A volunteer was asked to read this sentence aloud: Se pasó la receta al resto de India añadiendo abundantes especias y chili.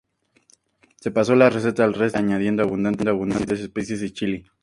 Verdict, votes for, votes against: accepted, 2, 0